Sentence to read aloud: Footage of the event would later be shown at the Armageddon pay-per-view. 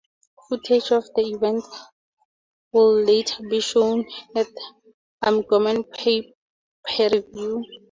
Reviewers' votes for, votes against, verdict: 0, 4, rejected